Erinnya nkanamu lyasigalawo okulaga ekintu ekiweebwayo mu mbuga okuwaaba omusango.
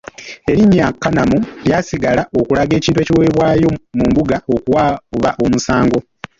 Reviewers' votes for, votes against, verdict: 0, 2, rejected